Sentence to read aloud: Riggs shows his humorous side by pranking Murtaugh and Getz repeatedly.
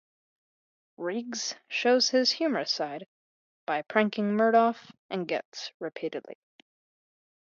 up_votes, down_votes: 2, 0